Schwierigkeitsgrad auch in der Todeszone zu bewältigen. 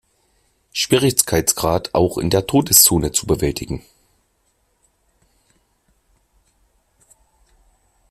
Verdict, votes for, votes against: rejected, 0, 2